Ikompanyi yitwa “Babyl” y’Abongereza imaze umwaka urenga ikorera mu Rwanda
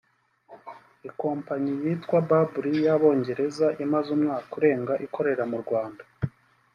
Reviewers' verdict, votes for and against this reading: accepted, 2, 0